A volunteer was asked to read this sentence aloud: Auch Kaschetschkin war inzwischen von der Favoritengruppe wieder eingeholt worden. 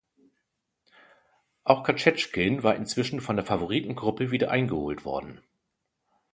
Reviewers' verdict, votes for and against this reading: rejected, 1, 2